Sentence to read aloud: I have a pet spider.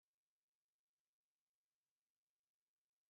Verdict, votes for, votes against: rejected, 0, 2